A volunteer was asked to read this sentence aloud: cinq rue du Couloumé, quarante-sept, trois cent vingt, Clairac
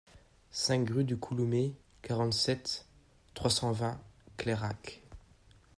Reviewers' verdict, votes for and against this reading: accepted, 2, 0